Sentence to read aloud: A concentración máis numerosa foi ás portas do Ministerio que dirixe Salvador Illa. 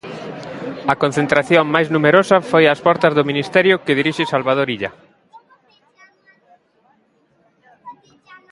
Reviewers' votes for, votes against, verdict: 2, 0, accepted